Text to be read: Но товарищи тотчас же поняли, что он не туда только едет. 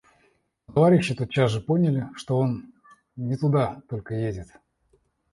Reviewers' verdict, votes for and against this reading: accepted, 2, 0